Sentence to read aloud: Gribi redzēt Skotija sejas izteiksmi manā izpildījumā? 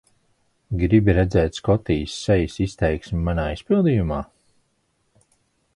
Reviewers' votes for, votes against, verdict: 2, 1, accepted